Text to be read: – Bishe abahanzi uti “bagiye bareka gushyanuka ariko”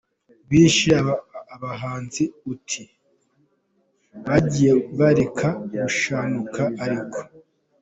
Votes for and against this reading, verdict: 0, 3, rejected